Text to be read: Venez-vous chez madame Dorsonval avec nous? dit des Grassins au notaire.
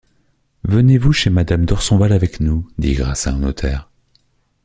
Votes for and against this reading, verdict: 1, 2, rejected